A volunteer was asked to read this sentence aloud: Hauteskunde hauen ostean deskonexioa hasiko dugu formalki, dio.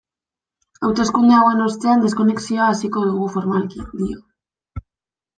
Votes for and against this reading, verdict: 0, 2, rejected